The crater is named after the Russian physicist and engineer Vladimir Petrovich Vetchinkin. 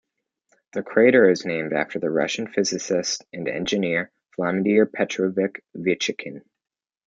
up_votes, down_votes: 2, 0